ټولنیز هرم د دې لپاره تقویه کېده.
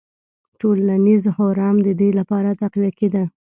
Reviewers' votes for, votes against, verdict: 2, 0, accepted